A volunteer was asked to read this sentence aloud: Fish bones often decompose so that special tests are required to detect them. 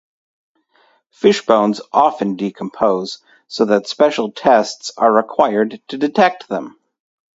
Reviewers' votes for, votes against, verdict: 2, 0, accepted